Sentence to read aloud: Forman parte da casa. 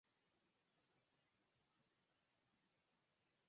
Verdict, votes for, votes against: rejected, 0, 4